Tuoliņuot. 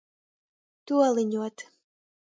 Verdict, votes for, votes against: rejected, 1, 2